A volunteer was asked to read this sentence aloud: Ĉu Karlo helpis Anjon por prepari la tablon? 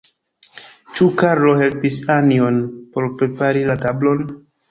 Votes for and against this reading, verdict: 1, 2, rejected